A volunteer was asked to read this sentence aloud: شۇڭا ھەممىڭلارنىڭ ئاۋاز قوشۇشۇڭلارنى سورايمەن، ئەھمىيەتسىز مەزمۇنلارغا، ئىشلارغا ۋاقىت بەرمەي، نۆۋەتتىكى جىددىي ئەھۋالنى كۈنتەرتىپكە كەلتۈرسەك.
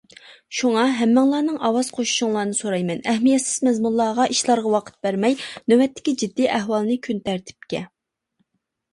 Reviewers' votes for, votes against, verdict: 0, 2, rejected